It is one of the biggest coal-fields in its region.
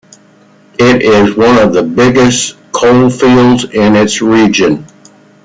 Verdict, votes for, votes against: accepted, 2, 0